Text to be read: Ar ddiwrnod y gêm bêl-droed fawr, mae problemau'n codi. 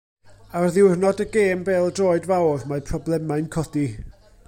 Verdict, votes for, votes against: rejected, 1, 2